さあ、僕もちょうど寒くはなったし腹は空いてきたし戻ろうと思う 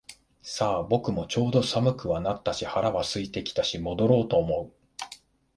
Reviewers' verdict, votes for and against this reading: accepted, 2, 1